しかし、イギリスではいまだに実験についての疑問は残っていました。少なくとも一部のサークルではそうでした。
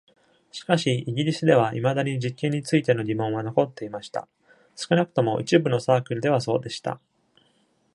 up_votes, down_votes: 2, 0